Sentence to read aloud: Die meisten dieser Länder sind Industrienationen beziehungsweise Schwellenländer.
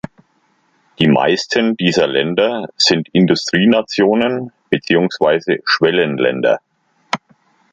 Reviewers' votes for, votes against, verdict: 2, 0, accepted